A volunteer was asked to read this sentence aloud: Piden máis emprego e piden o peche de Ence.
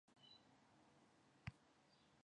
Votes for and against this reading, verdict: 1, 2, rejected